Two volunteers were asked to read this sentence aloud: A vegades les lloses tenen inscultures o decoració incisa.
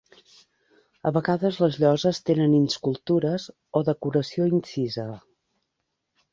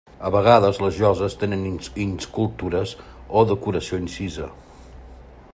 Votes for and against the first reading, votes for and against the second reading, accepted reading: 3, 0, 0, 2, first